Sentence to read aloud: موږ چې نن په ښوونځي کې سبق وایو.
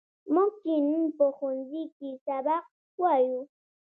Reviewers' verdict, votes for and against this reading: rejected, 1, 2